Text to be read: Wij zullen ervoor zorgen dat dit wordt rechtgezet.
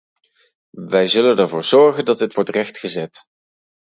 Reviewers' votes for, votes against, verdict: 2, 2, rejected